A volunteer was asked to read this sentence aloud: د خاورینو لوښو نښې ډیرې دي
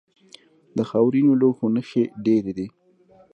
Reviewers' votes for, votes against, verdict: 0, 2, rejected